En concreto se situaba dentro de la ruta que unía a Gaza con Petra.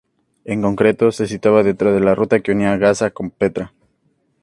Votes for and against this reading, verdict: 2, 0, accepted